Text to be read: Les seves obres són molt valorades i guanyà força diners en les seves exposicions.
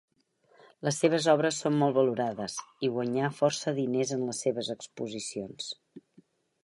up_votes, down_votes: 4, 0